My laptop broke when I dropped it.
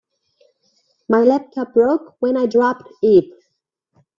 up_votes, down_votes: 2, 1